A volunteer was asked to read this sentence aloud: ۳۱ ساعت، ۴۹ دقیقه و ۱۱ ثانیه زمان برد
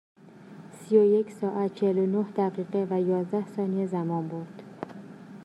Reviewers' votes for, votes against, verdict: 0, 2, rejected